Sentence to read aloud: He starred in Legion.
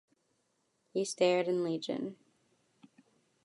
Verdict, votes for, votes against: rejected, 1, 2